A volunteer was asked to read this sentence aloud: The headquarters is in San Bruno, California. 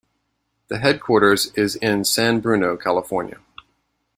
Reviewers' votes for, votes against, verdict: 2, 0, accepted